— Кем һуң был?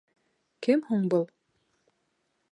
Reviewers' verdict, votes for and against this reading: accepted, 2, 0